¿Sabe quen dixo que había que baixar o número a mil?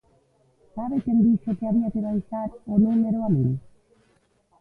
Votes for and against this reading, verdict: 1, 2, rejected